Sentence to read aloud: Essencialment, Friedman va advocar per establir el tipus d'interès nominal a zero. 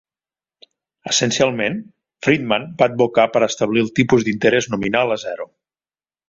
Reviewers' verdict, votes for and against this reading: accepted, 3, 0